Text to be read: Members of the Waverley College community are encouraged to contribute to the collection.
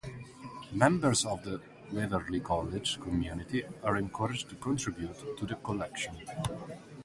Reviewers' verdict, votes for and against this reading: rejected, 0, 4